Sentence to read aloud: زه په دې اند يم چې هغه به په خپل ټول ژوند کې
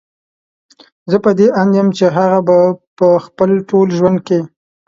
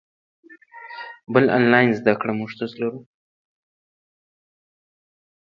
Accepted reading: first